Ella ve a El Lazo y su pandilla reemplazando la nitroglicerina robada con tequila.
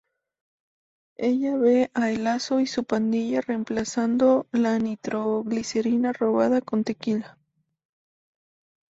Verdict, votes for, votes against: accepted, 2, 0